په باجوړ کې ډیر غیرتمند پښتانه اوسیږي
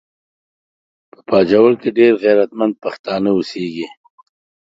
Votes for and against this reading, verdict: 2, 1, accepted